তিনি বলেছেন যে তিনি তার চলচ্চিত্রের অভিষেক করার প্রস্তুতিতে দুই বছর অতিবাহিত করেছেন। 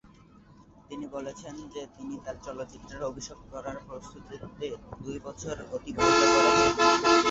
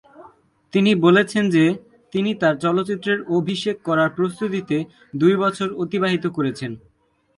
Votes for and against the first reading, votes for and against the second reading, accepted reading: 0, 2, 2, 0, second